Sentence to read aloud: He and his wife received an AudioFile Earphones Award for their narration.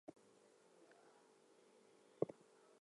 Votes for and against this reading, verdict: 0, 2, rejected